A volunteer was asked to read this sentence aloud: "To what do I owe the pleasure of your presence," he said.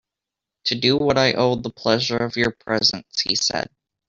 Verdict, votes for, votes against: rejected, 0, 2